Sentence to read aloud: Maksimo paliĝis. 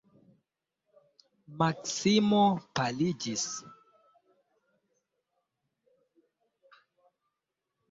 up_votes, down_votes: 2, 0